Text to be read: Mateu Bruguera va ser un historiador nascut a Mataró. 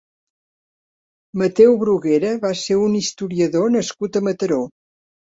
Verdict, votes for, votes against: accepted, 5, 0